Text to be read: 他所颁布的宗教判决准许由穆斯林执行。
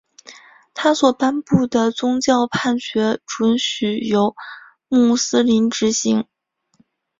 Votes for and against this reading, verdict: 2, 0, accepted